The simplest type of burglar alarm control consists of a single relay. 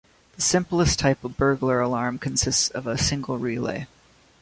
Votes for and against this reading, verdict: 0, 3, rejected